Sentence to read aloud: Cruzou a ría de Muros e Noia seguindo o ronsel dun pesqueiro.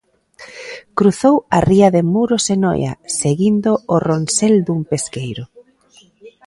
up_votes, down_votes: 2, 0